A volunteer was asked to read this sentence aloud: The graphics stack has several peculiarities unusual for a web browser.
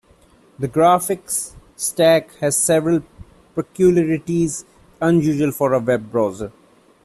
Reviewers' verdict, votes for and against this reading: accepted, 2, 1